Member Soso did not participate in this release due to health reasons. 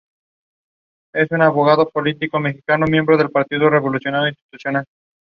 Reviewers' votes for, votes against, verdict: 0, 2, rejected